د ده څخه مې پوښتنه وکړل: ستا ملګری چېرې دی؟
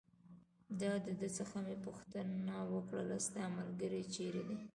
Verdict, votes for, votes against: rejected, 0, 2